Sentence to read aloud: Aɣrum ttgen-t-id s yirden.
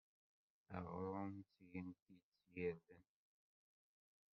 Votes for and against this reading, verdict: 0, 2, rejected